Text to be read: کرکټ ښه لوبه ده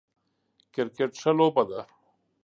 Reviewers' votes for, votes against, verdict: 2, 0, accepted